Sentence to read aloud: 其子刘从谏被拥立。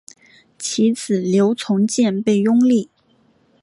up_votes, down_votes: 2, 0